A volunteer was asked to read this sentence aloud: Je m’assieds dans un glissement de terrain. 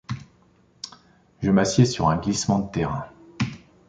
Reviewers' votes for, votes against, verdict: 1, 2, rejected